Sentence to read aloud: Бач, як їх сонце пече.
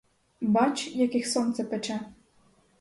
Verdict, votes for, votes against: rejected, 2, 4